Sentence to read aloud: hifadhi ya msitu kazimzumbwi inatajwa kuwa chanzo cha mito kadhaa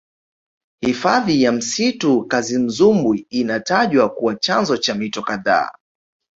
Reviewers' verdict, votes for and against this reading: accepted, 2, 0